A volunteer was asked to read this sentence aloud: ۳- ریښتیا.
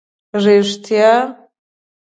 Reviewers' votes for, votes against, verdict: 0, 2, rejected